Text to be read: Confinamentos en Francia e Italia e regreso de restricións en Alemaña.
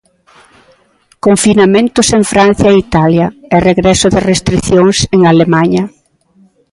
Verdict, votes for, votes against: accepted, 2, 0